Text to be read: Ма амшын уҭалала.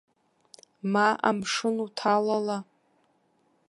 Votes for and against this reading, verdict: 1, 2, rejected